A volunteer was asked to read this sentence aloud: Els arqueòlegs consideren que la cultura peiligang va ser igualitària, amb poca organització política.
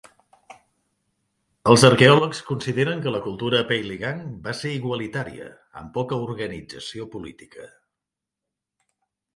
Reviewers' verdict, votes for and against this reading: accepted, 2, 0